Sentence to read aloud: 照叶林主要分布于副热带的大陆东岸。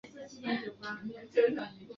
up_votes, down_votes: 0, 3